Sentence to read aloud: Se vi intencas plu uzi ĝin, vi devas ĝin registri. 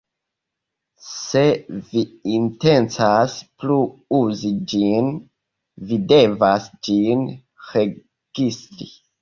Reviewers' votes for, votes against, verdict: 1, 2, rejected